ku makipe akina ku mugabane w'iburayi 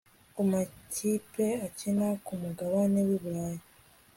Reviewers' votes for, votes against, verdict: 2, 0, accepted